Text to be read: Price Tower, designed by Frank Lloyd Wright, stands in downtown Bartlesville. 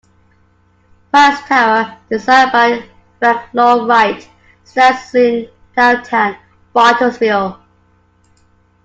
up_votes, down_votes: 2, 1